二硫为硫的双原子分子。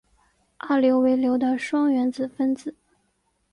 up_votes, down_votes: 2, 1